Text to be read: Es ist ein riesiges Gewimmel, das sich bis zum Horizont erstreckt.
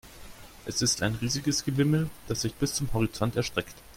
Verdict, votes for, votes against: accepted, 2, 0